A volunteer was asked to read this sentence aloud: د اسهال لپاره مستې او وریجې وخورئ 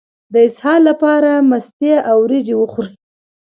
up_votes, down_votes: 2, 0